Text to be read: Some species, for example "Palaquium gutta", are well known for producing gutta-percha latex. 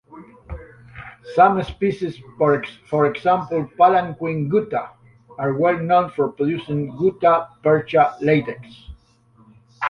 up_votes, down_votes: 1, 2